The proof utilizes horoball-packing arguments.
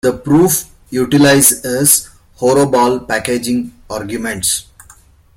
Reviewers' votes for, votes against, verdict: 2, 0, accepted